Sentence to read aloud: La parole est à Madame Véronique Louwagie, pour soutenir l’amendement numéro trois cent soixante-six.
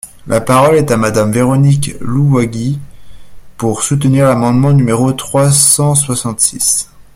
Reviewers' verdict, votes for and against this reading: rejected, 0, 2